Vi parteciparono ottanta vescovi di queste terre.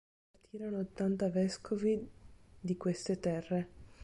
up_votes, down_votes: 0, 2